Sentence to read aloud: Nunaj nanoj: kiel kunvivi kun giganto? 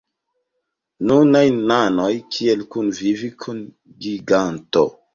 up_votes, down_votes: 0, 2